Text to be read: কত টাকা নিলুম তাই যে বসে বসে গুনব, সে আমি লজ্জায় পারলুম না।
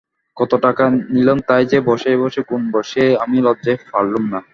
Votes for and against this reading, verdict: 0, 2, rejected